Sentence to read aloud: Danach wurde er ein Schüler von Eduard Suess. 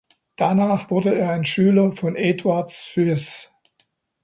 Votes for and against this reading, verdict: 2, 0, accepted